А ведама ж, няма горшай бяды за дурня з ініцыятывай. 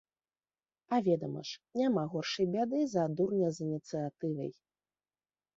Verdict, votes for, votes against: accepted, 2, 0